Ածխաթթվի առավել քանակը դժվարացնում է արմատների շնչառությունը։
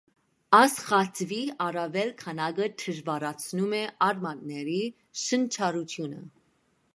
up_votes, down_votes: 1, 2